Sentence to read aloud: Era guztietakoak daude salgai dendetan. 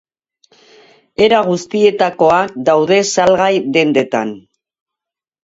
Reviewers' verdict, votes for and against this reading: rejected, 0, 2